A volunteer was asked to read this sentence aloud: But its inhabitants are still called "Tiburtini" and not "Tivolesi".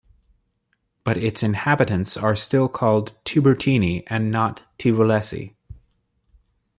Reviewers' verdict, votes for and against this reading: accepted, 2, 0